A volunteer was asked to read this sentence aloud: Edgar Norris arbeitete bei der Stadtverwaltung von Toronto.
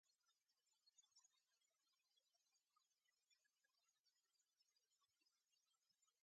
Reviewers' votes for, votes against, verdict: 0, 2, rejected